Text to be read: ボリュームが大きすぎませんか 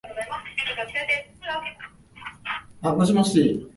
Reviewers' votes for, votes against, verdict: 2, 6, rejected